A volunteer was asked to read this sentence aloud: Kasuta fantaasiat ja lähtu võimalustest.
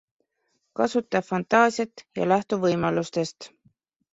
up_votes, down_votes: 2, 0